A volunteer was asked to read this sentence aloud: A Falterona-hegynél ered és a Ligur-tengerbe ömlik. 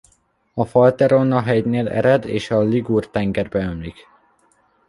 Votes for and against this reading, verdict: 2, 0, accepted